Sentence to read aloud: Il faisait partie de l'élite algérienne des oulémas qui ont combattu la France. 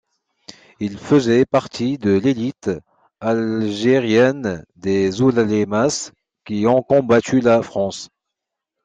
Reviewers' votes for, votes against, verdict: 2, 1, accepted